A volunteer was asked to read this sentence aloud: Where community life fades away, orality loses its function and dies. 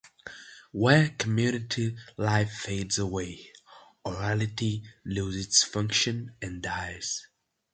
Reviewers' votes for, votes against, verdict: 0, 2, rejected